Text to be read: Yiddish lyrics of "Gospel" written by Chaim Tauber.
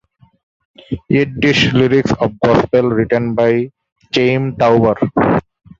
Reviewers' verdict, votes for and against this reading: rejected, 0, 2